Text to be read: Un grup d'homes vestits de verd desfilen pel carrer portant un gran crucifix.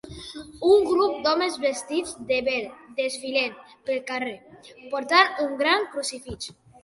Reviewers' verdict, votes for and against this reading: rejected, 1, 2